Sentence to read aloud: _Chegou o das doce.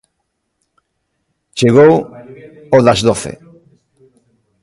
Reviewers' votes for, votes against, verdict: 0, 2, rejected